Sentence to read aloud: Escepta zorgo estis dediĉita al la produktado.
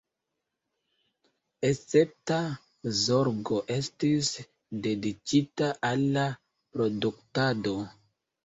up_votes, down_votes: 2, 0